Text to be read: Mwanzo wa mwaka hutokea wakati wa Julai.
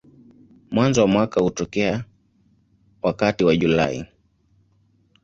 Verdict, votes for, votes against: accepted, 2, 1